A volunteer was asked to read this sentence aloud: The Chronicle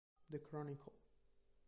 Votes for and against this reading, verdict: 0, 2, rejected